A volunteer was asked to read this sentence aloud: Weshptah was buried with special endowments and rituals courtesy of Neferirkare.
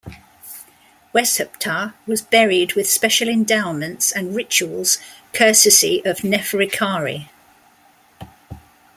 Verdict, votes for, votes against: accepted, 2, 0